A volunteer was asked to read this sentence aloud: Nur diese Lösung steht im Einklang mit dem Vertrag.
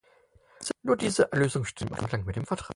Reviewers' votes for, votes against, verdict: 0, 4, rejected